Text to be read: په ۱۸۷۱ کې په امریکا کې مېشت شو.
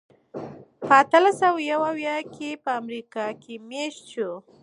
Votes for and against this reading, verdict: 0, 2, rejected